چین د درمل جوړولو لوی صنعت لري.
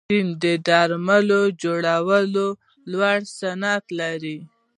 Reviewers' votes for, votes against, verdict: 1, 2, rejected